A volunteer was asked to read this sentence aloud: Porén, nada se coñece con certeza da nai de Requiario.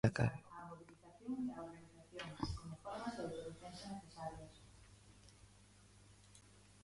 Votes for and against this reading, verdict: 0, 2, rejected